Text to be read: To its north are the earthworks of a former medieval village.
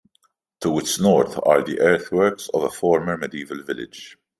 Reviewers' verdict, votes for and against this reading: accepted, 2, 0